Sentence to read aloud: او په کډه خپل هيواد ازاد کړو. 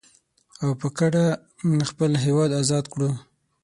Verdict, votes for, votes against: rejected, 3, 6